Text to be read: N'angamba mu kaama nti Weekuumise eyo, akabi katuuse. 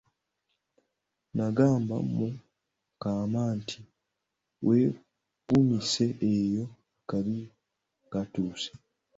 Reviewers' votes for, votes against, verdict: 0, 2, rejected